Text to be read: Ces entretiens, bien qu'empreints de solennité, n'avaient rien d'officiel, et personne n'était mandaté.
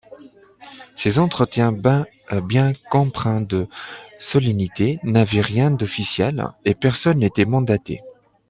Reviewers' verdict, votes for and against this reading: rejected, 1, 2